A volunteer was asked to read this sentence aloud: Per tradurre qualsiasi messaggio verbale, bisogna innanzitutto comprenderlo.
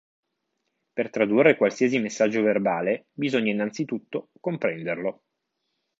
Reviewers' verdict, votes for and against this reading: accepted, 2, 0